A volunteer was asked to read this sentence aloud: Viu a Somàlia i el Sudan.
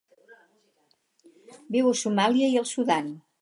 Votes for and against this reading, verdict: 2, 4, rejected